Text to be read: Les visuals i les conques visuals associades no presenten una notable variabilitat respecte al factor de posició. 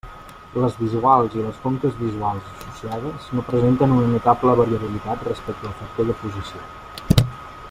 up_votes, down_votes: 1, 2